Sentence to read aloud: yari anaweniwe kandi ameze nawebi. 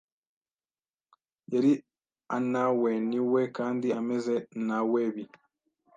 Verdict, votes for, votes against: rejected, 1, 2